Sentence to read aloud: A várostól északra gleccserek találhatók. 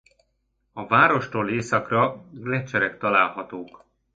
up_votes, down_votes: 2, 0